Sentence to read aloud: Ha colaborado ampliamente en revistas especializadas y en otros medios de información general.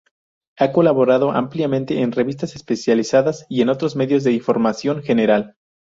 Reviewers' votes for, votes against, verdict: 2, 2, rejected